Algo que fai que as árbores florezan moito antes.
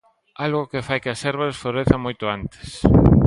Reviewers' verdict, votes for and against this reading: accepted, 2, 0